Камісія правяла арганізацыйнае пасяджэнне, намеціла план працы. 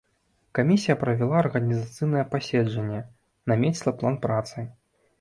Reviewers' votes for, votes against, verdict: 2, 0, accepted